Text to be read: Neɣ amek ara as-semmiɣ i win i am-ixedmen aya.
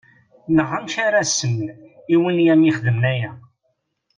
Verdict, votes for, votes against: rejected, 1, 2